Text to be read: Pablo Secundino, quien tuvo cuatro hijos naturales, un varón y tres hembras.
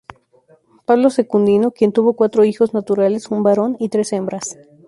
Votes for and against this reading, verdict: 0, 2, rejected